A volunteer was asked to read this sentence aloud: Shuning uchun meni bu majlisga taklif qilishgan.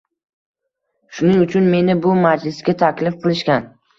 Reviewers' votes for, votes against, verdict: 2, 0, accepted